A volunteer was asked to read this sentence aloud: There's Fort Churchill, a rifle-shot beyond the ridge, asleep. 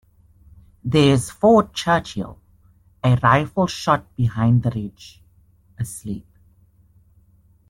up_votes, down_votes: 0, 2